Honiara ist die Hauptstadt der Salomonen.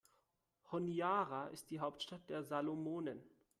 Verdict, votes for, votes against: accepted, 2, 0